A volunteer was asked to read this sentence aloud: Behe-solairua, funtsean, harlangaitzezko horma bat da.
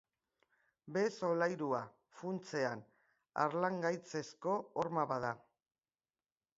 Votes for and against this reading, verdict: 2, 0, accepted